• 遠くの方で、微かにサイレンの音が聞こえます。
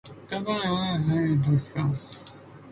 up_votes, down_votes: 1, 2